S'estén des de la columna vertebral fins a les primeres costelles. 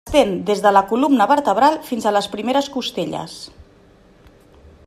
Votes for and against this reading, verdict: 0, 2, rejected